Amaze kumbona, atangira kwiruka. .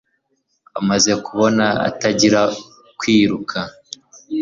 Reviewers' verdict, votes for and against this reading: rejected, 1, 2